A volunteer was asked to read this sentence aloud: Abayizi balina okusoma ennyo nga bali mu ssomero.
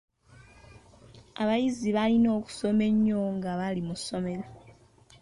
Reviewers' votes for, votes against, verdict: 2, 1, accepted